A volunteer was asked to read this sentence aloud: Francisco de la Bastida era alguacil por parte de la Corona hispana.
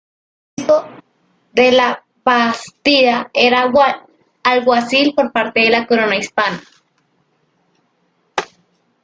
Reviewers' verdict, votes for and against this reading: rejected, 0, 2